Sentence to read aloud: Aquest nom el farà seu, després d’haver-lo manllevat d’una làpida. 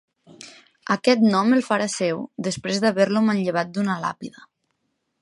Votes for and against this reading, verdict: 2, 0, accepted